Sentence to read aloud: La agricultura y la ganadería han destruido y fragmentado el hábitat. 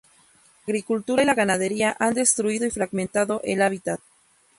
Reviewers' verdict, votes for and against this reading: accepted, 2, 0